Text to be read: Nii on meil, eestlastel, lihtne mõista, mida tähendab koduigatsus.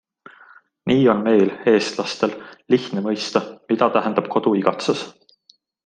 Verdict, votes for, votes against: accepted, 2, 0